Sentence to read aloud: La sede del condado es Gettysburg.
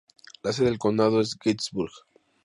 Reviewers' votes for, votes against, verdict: 2, 0, accepted